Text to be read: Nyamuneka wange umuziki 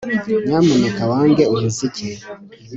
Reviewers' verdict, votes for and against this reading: accepted, 2, 0